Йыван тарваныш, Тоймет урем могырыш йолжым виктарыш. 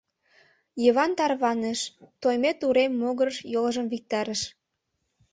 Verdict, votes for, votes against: accepted, 2, 0